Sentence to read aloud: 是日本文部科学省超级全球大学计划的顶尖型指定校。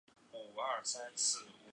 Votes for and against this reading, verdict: 0, 2, rejected